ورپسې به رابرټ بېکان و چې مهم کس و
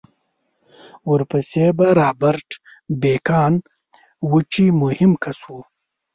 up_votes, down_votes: 1, 2